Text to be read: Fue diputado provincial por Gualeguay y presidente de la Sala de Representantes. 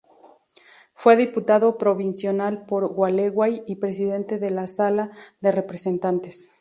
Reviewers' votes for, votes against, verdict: 0, 2, rejected